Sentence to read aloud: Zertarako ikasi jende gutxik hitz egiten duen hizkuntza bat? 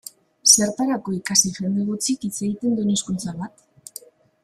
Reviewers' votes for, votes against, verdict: 2, 1, accepted